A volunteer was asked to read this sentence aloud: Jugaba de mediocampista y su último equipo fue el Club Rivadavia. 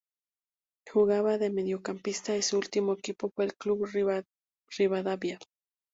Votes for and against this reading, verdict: 0, 2, rejected